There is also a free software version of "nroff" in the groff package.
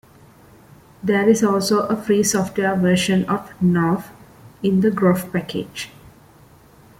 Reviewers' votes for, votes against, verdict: 2, 0, accepted